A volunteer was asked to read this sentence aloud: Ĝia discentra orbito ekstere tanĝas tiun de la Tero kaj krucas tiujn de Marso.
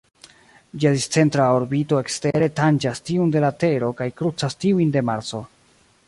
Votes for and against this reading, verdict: 2, 1, accepted